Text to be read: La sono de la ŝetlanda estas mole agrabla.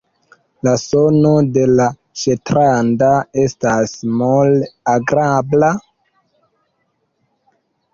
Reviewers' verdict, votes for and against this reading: rejected, 1, 2